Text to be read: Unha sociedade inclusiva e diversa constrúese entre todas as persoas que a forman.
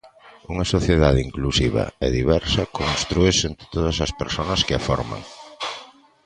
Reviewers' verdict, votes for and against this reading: rejected, 0, 2